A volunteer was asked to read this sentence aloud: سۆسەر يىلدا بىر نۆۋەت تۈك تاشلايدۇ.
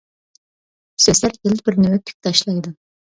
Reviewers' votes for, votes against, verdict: 1, 2, rejected